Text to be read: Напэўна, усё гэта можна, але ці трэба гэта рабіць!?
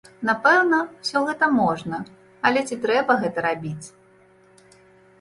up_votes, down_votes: 2, 0